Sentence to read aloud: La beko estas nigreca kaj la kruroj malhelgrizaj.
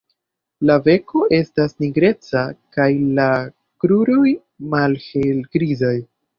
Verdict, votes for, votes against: rejected, 0, 2